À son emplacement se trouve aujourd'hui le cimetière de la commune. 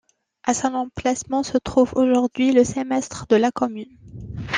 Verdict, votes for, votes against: rejected, 0, 2